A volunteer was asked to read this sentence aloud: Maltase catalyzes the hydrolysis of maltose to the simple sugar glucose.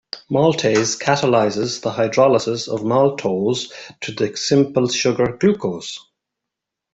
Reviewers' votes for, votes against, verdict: 2, 0, accepted